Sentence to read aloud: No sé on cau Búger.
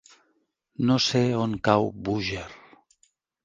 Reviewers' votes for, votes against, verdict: 3, 0, accepted